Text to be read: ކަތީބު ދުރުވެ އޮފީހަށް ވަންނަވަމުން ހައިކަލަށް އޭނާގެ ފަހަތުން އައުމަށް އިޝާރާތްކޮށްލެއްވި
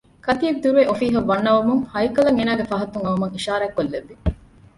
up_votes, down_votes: 0, 2